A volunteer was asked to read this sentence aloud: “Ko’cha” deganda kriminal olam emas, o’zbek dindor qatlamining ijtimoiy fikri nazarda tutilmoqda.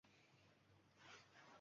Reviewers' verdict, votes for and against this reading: rejected, 1, 2